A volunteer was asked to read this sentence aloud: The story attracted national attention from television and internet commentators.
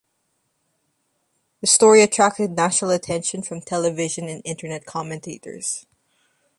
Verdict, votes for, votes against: accepted, 2, 0